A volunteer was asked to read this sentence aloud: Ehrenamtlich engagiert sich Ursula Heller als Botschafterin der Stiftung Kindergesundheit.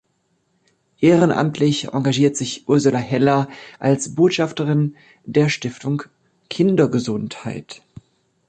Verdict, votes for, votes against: accepted, 4, 0